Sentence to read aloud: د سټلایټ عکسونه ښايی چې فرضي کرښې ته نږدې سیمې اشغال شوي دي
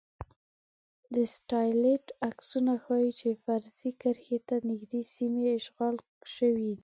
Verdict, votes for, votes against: rejected, 1, 2